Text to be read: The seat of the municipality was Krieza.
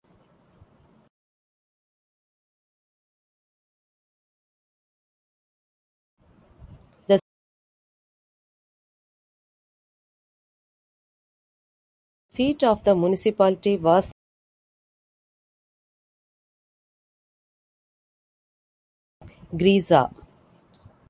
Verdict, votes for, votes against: rejected, 1, 2